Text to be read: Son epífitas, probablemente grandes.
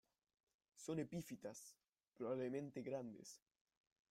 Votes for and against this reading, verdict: 0, 2, rejected